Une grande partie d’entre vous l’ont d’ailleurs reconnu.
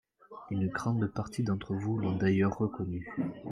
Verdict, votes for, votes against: rejected, 1, 2